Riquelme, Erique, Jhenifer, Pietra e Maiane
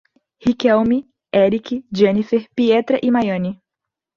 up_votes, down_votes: 2, 0